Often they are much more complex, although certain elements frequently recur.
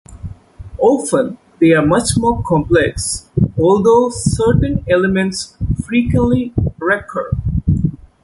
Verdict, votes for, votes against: accepted, 2, 0